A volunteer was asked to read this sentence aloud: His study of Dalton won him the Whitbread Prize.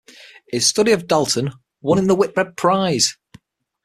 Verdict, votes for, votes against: accepted, 6, 3